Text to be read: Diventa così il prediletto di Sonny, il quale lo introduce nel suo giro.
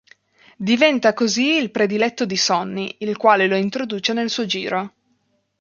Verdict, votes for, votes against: accepted, 2, 0